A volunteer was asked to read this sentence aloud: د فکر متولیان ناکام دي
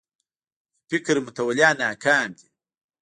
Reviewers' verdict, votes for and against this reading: rejected, 1, 2